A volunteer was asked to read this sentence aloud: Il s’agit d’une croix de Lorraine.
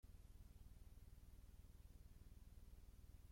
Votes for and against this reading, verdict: 0, 2, rejected